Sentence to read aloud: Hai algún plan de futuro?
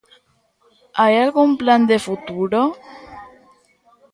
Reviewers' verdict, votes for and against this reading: rejected, 1, 2